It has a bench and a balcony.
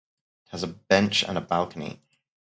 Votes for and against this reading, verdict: 0, 4, rejected